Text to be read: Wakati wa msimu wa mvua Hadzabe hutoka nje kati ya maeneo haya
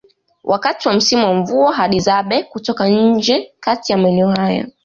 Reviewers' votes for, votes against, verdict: 2, 0, accepted